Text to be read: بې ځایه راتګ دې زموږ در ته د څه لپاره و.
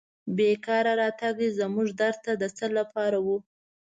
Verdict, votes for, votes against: rejected, 0, 2